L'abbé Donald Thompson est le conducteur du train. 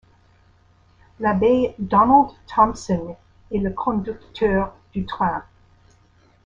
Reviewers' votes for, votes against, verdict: 1, 2, rejected